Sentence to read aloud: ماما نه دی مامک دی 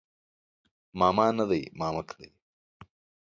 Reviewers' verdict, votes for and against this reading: accepted, 2, 0